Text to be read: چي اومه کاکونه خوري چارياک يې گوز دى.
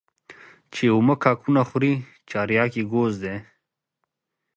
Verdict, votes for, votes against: accepted, 2, 1